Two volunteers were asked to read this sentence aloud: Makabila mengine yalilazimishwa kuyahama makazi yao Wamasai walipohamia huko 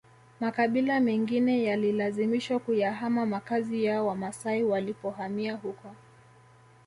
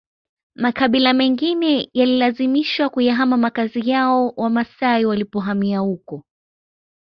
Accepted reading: second